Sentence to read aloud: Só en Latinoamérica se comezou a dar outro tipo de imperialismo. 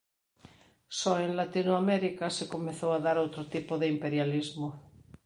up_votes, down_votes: 4, 0